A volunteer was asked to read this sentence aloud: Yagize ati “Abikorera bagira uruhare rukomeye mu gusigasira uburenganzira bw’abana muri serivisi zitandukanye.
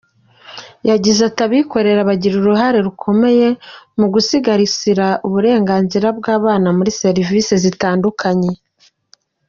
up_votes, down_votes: 2, 0